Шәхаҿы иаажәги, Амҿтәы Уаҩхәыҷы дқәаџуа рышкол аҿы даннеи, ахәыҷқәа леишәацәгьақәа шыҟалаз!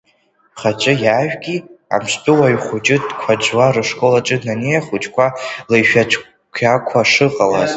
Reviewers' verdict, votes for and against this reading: rejected, 0, 2